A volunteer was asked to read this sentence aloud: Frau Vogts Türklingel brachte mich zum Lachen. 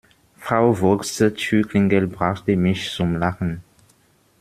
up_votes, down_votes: 2, 0